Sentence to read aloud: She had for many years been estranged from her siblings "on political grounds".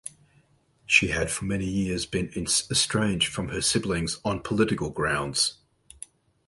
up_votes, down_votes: 2, 2